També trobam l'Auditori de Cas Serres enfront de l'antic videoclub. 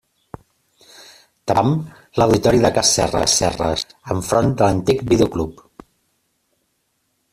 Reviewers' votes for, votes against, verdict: 0, 2, rejected